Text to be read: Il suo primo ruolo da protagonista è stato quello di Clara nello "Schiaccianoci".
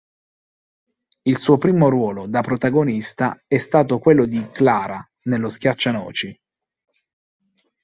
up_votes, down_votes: 3, 1